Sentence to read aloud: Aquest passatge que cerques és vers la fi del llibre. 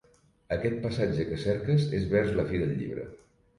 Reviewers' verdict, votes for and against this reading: rejected, 1, 2